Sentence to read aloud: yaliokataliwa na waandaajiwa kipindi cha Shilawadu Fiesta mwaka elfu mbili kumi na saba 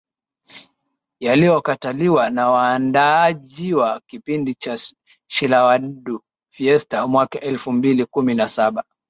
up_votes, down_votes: 0, 2